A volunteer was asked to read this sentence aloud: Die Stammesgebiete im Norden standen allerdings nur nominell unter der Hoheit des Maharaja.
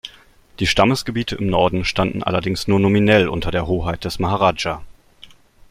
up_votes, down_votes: 2, 0